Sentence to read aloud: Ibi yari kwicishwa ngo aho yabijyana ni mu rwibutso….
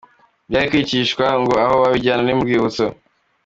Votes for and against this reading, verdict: 2, 1, accepted